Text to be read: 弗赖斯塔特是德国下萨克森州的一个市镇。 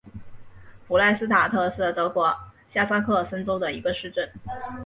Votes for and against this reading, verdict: 2, 0, accepted